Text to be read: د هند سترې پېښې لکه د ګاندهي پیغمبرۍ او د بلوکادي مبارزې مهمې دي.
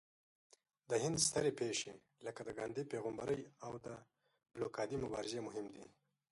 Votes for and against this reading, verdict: 1, 2, rejected